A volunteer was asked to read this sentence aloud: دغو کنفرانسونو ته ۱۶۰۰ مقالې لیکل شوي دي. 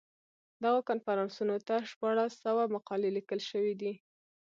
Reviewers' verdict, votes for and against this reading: rejected, 0, 2